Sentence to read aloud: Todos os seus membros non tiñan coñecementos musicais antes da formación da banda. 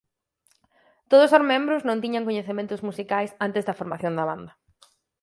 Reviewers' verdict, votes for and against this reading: rejected, 0, 4